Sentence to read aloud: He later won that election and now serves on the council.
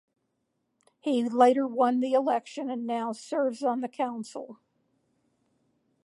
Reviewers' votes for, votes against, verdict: 0, 4, rejected